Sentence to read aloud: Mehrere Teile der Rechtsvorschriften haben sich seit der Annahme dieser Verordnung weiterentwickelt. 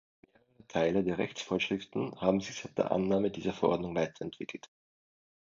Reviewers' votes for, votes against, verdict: 0, 2, rejected